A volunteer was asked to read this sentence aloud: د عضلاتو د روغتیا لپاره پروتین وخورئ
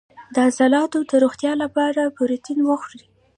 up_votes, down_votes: 0, 2